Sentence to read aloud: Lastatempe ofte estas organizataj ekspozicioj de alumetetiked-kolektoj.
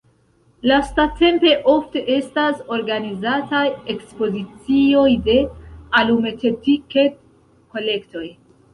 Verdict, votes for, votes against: rejected, 1, 2